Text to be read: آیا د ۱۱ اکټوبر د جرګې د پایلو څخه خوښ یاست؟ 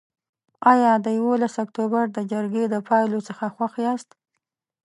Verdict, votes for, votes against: rejected, 0, 2